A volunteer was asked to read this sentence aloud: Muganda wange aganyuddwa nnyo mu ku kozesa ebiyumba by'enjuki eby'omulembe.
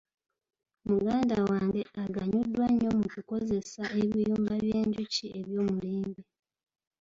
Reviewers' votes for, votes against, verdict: 1, 2, rejected